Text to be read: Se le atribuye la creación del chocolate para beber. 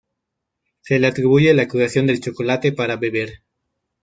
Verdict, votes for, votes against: rejected, 1, 2